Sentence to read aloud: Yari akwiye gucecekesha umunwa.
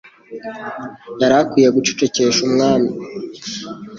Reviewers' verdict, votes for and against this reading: rejected, 0, 2